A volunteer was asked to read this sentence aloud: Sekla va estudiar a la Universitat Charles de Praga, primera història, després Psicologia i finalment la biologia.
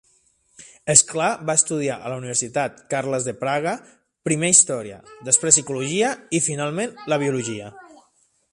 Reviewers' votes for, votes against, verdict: 0, 3, rejected